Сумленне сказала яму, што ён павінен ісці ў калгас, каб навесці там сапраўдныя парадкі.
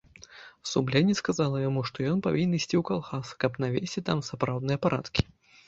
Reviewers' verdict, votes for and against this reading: accepted, 3, 0